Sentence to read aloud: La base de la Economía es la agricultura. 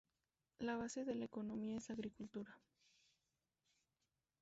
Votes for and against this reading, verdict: 2, 0, accepted